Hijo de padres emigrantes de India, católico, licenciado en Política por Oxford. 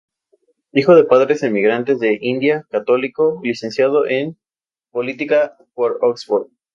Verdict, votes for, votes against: accepted, 2, 0